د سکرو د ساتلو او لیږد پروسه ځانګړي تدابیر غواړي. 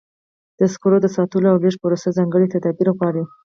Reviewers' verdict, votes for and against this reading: rejected, 0, 4